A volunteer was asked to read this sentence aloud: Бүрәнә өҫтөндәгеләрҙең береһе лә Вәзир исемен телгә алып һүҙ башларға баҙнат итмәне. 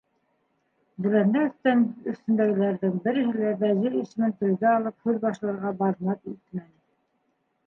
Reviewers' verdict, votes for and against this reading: rejected, 3, 4